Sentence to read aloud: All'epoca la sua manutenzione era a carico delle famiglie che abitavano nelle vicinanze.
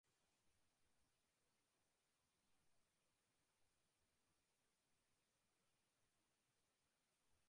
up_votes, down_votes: 0, 2